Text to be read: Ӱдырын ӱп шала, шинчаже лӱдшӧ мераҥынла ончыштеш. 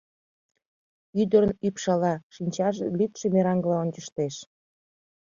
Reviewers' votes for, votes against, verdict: 1, 2, rejected